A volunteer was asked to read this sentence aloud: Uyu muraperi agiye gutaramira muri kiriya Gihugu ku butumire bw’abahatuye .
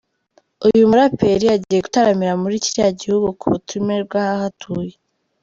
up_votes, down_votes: 1, 2